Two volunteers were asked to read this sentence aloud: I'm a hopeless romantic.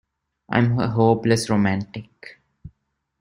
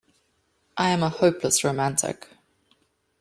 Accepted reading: first